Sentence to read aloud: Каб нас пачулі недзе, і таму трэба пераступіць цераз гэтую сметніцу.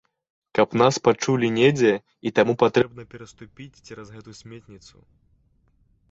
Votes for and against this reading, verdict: 0, 2, rejected